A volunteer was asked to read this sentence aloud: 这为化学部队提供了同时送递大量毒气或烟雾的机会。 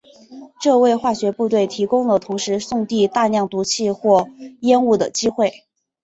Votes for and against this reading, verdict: 3, 0, accepted